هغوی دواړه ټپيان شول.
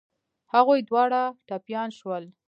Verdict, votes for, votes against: accepted, 2, 0